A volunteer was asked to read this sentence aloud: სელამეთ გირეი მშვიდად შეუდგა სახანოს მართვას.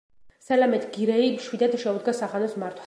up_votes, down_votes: 1, 2